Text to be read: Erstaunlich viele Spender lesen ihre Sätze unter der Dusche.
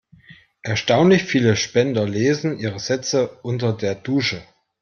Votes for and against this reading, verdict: 2, 0, accepted